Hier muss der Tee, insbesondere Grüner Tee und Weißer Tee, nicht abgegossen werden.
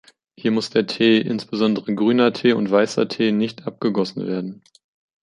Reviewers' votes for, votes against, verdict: 3, 0, accepted